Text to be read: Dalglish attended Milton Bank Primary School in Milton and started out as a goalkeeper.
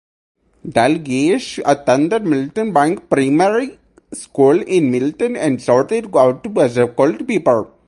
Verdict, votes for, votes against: rejected, 0, 8